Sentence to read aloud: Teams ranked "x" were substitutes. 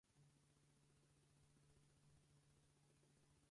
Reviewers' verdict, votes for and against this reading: rejected, 0, 4